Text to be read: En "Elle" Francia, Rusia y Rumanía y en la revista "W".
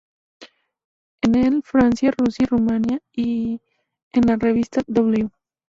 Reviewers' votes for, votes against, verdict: 0, 2, rejected